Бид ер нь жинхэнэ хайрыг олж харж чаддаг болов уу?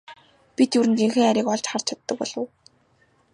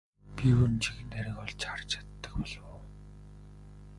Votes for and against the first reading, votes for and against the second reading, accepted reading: 2, 0, 0, 2, first